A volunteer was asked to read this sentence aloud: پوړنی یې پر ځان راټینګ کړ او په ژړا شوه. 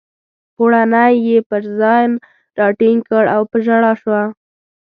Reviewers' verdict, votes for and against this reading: rejected, 1, 2